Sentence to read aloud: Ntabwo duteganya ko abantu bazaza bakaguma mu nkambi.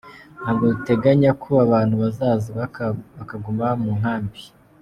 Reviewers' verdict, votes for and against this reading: rejected, 0, 2